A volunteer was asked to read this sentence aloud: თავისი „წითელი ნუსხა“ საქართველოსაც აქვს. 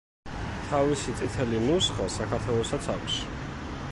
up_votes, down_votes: 2, 1